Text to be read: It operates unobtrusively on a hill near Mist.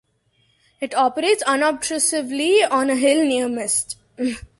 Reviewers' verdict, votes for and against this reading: accepted, 2, 1